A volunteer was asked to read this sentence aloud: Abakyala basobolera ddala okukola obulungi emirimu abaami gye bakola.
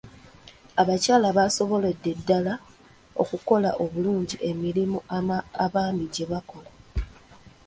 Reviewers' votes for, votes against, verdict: 1, 2, rejected